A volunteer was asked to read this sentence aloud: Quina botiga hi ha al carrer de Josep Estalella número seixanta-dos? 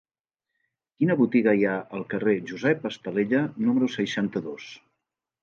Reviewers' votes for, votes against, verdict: 0, 2, rejected